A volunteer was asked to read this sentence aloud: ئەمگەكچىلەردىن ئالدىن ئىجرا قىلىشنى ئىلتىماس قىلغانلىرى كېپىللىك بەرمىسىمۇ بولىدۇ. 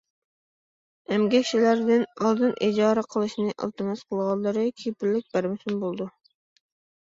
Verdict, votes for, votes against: rejected, 1, 2